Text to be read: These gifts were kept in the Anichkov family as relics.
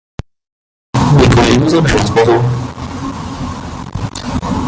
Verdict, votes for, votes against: rejected, 0, 2